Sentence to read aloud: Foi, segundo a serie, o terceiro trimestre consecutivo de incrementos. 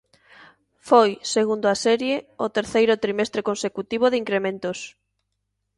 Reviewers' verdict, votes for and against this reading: accepted, 2, 0